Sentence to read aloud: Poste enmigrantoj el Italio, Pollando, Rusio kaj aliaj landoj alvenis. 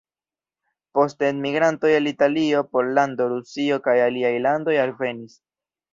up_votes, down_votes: 0, 2